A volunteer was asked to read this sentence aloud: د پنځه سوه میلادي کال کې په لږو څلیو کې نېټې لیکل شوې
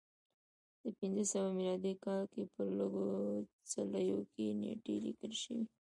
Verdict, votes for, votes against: rejected, 2, 3